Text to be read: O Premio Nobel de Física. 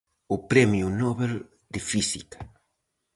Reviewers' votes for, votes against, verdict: 4, 0, accepted